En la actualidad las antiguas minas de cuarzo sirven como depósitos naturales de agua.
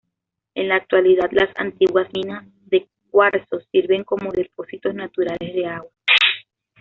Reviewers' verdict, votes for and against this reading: accepted, 2, 0